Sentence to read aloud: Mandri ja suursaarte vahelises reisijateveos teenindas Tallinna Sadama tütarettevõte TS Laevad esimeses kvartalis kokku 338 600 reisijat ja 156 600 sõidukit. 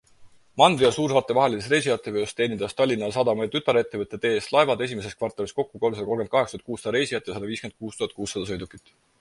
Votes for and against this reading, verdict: 0, 2, rejected